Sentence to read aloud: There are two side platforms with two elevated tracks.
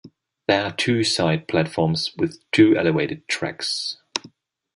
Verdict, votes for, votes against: rejected, 1, 2